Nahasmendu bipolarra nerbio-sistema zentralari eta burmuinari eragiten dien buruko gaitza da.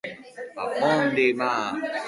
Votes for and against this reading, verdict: 0, 2, rejected